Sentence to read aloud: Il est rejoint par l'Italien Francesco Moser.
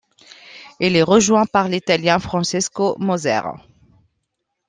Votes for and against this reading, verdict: 2, 1, accepted